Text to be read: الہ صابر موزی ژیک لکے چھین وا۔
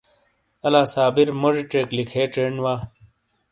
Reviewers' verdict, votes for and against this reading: accepted, 2, 0